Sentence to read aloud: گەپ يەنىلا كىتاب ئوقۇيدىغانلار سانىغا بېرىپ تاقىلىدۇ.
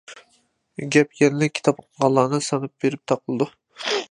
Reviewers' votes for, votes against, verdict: 0, 2, rejected